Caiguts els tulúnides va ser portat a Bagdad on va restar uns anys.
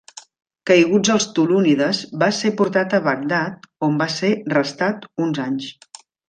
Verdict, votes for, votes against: rejected, 0, 2